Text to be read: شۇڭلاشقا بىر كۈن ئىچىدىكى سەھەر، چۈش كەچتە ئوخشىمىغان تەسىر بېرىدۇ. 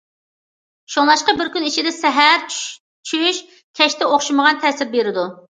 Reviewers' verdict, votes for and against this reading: rejected, 0, 2